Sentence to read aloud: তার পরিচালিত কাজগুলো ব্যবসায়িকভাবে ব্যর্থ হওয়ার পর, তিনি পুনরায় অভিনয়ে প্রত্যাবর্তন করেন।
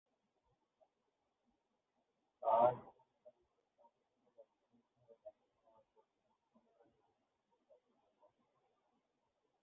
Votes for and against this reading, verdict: 0, 6, rejected